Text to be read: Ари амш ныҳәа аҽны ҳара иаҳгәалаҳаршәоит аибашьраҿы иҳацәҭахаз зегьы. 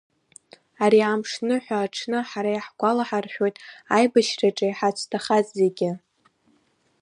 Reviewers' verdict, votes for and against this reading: accepted, 2, 1